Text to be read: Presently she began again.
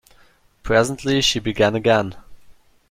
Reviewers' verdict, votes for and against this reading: accepted, 2, 0